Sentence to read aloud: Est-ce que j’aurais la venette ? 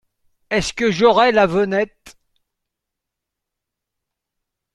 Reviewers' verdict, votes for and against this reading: accepted, 2, 0